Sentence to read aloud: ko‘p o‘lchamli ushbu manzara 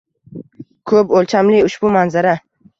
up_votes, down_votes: 1, 2